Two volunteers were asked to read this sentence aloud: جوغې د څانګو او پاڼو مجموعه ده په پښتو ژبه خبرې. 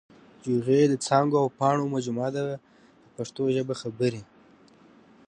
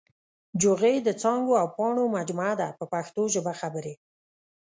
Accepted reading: first